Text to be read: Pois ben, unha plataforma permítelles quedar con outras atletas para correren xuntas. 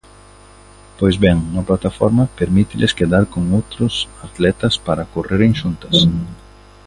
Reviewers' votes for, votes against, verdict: 0, 2, rejected